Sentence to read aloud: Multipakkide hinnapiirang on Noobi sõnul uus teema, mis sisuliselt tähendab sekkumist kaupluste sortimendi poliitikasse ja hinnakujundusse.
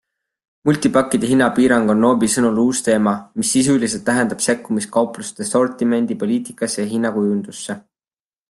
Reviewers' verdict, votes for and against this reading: accepted, 2, 0